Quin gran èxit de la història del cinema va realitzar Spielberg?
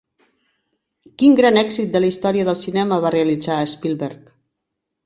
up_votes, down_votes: 3, 0